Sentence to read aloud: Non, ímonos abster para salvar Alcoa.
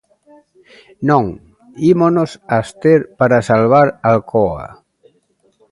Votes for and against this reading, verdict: 2, 1, accepted